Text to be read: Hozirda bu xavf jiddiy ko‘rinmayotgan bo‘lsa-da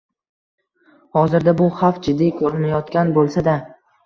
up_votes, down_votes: 2, 0